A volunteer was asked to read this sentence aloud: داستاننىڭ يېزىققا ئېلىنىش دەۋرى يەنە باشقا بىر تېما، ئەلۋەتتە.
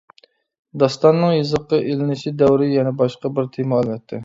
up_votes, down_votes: 0, 2